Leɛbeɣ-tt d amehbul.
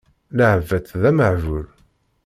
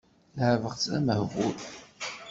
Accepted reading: second